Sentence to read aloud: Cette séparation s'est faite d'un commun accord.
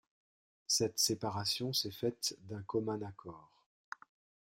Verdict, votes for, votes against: accepted, 2, 0